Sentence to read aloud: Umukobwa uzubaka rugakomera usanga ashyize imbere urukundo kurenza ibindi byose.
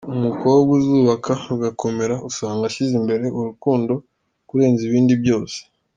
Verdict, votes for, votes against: accepted, 2, 0